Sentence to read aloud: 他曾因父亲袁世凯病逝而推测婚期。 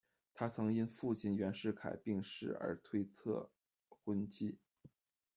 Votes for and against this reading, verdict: 2, 0, accepted